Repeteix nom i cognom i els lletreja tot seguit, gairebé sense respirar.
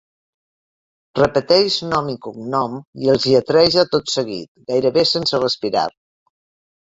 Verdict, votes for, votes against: accepted, 3, 0